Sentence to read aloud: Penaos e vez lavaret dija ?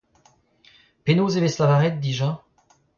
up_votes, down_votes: 2, 1